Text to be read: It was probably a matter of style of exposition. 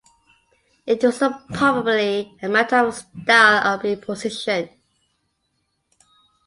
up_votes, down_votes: 2, 1